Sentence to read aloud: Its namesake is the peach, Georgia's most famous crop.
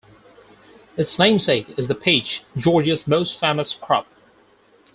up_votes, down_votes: 4, 2